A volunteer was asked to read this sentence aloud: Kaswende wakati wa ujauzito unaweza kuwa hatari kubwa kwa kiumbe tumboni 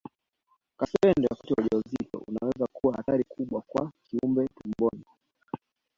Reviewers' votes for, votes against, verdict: 0, 2, rejected